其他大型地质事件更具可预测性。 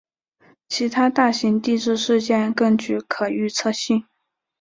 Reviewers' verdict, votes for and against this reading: accepted, 2, 0